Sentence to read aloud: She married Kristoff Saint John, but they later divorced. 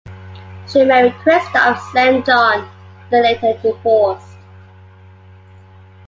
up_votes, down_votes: 2, 1